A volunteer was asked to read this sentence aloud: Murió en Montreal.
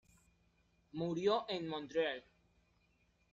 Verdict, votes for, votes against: rejected, 0, 2